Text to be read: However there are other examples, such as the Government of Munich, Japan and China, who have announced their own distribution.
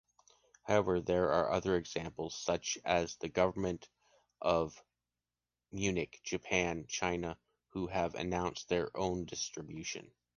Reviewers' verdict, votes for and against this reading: accepted, 2, 0